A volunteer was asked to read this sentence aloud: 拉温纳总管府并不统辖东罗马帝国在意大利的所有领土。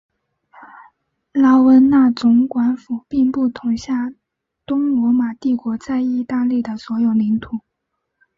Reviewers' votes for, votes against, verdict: 2, 0, accepted